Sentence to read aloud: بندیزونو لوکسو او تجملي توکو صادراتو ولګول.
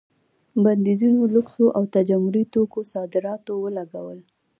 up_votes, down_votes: 2, 0